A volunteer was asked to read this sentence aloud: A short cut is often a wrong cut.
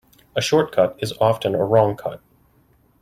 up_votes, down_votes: 2, 0